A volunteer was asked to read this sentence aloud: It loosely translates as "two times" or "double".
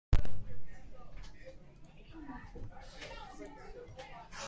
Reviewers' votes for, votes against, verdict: 0, 2, rejected